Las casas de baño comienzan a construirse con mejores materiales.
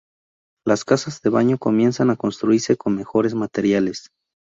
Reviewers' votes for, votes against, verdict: 2, 0, accepted